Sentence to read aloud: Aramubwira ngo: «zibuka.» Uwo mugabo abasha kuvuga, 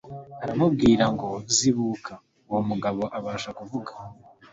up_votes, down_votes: 3, 0